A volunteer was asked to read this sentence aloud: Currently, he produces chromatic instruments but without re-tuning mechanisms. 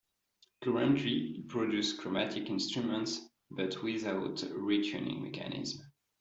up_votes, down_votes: 0, 2